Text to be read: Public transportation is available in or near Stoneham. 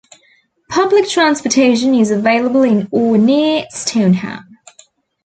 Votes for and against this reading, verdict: 2, 0, accepted